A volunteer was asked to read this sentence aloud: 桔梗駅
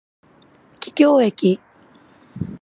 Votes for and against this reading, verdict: 2, 0, accepted